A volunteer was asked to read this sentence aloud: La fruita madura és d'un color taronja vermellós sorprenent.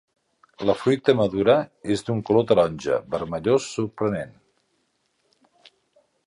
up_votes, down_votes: 3, 0